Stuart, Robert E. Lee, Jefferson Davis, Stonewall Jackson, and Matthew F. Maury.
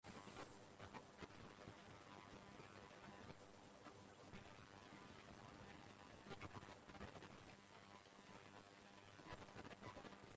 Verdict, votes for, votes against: rejected, 0, 2